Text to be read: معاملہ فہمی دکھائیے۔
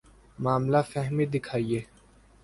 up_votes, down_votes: 2, 0